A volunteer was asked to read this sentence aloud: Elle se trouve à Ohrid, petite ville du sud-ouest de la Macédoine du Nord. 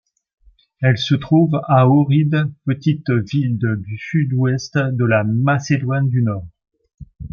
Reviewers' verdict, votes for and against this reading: accepted, 2, 0